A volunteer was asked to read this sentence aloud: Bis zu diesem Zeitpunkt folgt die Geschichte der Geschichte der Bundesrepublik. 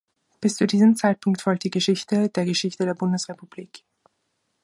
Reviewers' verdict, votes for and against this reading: accepted, 2, 0